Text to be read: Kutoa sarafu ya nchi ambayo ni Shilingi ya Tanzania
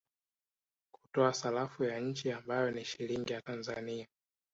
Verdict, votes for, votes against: accepted, 3, 0